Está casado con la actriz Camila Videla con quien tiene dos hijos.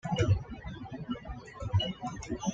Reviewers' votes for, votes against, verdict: 1, 2, rejected